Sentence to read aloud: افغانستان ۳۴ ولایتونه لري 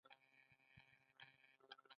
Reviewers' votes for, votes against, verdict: 0, 2, rejected